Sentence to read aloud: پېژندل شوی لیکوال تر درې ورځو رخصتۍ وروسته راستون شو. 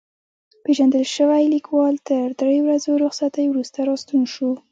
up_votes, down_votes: 2, 0